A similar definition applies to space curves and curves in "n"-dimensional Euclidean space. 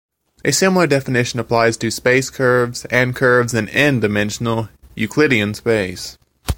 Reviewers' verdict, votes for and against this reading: accepted, 2, 0